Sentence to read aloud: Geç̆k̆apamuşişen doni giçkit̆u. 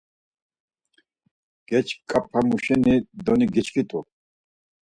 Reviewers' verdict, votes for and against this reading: rejected, 0, 4